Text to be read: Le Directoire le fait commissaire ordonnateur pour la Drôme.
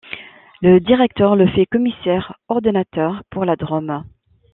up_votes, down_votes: 1, 2